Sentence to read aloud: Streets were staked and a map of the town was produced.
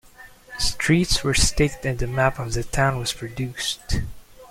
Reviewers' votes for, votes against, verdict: 1, 2, rejected